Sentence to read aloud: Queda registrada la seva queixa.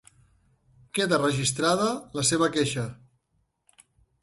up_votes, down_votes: 3, 0